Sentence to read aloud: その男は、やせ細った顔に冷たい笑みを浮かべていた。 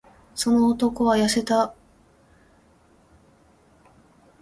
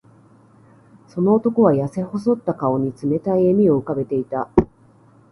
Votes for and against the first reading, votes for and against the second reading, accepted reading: 0, 2, 3, 0, second